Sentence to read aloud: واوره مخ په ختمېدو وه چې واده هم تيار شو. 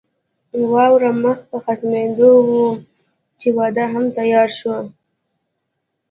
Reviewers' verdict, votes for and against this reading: accepted, 2, 1